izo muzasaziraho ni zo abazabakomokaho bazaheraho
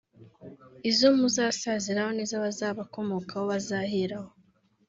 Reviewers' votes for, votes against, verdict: 2, 0, accepted